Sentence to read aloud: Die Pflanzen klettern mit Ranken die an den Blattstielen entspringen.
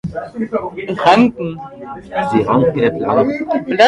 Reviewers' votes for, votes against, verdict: 0, 2, rejected